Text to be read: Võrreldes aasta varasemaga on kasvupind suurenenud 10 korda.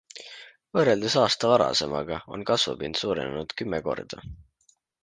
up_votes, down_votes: 0, 2